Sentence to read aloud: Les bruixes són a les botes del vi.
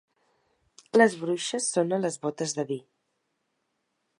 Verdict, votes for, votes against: rejected, 0, 2